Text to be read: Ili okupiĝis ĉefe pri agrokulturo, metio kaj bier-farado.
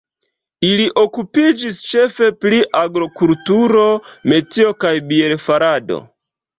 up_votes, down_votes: 0, 2